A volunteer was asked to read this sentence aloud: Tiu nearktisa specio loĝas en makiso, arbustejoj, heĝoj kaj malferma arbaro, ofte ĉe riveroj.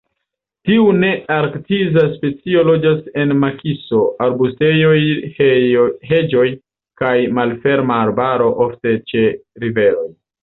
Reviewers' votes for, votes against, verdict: 0, 2, rejected